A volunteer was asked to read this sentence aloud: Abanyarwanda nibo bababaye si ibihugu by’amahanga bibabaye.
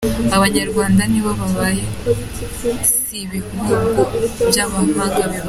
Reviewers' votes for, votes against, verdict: 0, 2, rejected